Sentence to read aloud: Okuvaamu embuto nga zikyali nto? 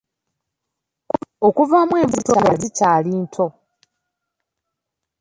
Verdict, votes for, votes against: rejected, 0, 2